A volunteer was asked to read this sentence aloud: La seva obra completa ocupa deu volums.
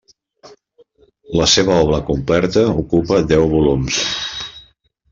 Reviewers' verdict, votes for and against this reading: rejected, 1, 2